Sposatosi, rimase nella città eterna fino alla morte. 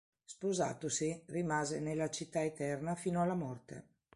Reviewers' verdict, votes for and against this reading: accepted, 3, 0